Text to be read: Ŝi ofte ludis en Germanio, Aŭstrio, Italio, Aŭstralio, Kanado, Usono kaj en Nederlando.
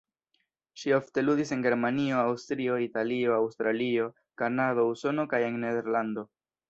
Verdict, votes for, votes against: accepted, 2, 0